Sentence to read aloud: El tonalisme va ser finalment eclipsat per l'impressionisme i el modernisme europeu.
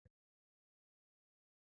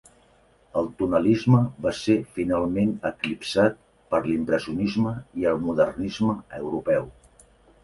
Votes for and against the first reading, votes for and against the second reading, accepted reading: 0, 2, 2, 0, second